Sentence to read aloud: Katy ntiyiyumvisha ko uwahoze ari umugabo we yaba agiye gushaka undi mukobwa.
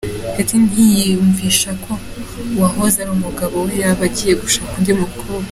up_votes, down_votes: 2, 0